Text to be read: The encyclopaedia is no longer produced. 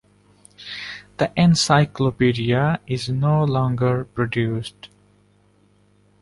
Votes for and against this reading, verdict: 2, 0, accepted